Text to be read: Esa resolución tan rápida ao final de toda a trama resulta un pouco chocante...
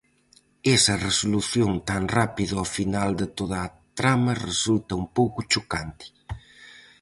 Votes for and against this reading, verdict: 4, 0, accepted